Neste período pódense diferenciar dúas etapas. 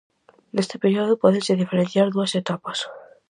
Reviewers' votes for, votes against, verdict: 0, 4, rejected